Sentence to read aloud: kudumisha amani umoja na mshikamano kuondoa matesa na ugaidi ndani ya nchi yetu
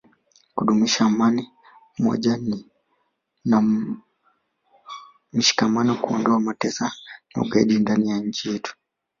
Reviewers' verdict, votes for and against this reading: rejected, 1, 2